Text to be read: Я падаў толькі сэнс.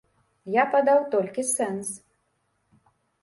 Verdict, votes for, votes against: accepted, 2, 0